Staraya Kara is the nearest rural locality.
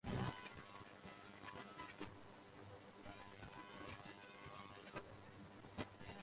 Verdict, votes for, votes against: rejected, 0, 2